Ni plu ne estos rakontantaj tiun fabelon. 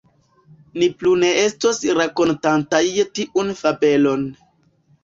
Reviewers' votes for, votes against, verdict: 2, 0, accepted